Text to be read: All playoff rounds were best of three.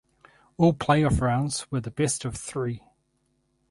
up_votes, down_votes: 0, 4